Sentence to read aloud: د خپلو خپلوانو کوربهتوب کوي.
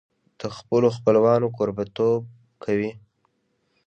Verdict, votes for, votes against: rejected, 1, 2